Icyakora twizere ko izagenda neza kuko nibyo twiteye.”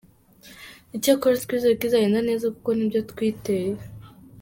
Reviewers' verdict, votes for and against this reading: accepted, 2, 0